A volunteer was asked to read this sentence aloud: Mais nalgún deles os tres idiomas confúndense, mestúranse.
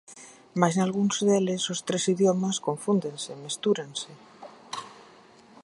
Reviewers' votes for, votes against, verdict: 0, 6, rejected